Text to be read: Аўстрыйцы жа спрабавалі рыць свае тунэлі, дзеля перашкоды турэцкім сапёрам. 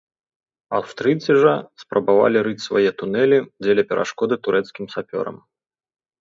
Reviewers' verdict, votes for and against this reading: accepted, 2, 0